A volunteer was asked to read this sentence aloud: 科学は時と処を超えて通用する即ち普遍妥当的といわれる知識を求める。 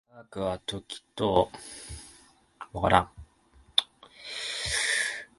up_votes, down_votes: 2, 0